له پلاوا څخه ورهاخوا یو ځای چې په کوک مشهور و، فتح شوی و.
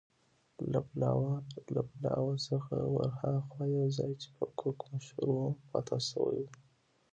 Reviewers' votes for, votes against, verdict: 0, 2, rejected